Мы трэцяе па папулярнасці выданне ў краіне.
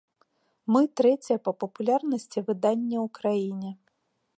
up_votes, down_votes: 2, 0